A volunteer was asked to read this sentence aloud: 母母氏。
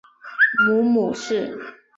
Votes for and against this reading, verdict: 4, 0, accepted